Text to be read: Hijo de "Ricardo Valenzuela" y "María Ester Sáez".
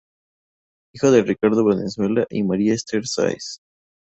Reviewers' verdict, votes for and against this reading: rejected, 0, 2